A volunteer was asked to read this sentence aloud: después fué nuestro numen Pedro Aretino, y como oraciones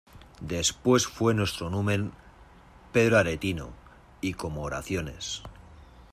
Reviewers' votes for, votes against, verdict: 2, 0, accepted